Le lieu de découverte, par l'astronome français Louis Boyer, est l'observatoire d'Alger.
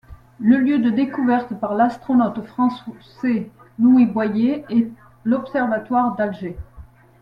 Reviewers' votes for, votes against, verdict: 1, 2, rejected